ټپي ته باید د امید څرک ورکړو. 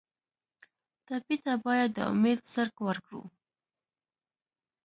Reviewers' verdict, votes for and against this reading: accepted, 2, 1